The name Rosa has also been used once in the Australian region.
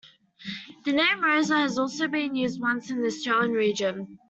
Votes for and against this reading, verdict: 2, 0, accepted